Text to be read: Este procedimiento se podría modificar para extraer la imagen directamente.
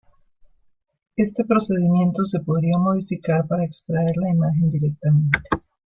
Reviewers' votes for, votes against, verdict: 2, 0, accepted